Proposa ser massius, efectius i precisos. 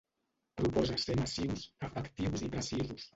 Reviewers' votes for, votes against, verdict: 0, 2, rejected